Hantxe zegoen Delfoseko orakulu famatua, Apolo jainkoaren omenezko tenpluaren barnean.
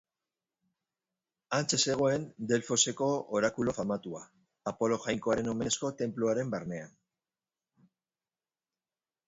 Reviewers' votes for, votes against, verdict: 1, 2, rejected